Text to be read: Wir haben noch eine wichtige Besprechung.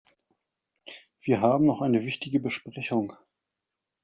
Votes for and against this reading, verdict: 2, 0, accepted